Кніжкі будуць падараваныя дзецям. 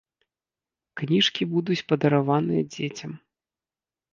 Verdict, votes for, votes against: accepted, 3, 0